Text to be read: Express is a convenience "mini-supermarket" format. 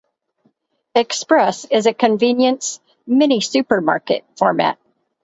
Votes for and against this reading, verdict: 4, 0, accepted